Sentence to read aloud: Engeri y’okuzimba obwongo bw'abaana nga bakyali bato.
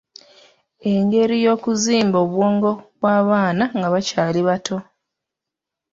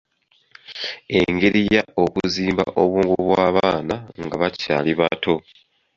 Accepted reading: second